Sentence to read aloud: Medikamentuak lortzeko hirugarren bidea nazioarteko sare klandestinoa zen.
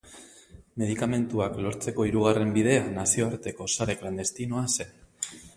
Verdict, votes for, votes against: rejected, 2, 2